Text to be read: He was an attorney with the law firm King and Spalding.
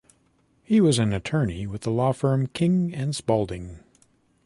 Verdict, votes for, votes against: accepted, 3, 0